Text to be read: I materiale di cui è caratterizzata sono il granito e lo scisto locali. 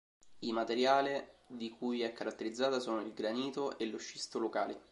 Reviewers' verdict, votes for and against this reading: accepted, 2, 0